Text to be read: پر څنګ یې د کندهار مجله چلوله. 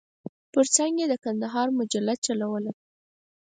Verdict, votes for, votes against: accepted, 4, 0